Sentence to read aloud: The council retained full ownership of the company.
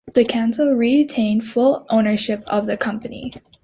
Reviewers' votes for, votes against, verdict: 2, 0, accepted